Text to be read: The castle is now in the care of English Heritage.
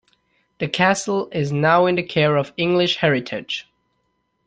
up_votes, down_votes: 2, 0